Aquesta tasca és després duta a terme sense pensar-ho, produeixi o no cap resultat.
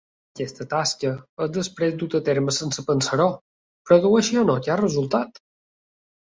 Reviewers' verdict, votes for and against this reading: accepted, 2, 0